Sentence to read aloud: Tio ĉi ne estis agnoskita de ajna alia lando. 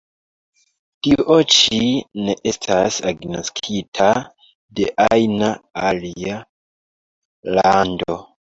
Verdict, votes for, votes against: rejected, 1, 2